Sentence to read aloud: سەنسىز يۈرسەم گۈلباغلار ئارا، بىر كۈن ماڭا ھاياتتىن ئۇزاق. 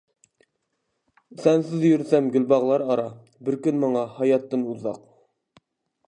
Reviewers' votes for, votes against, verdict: 2, 0, accepted